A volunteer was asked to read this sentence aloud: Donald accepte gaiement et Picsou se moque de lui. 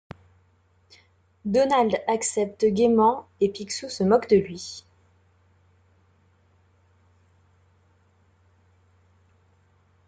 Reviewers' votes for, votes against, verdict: 2, 0, accepted